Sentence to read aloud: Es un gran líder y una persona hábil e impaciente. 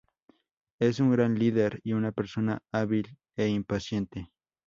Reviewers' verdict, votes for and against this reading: accepted, 2, 0